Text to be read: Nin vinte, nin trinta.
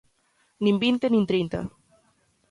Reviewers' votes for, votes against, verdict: 2, 0, accepted